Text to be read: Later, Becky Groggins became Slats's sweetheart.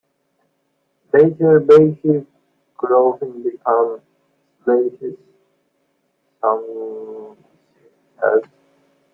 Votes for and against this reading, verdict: 0, 2, rejected